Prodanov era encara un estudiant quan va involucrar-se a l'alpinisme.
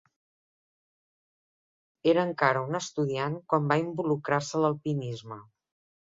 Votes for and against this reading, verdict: 0, 2, rejected